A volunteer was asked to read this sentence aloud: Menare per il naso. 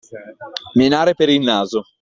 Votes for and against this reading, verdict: 2, 0, accepted